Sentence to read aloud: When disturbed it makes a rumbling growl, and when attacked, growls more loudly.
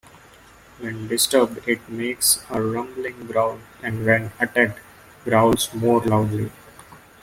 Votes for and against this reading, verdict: 2, 1, accepted